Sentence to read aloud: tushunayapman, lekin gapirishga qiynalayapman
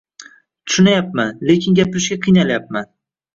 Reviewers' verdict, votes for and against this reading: rejected, 0, 2